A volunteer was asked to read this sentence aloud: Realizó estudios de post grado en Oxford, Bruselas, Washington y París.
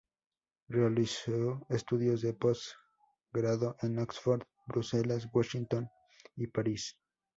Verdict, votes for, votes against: accepted, 2, 0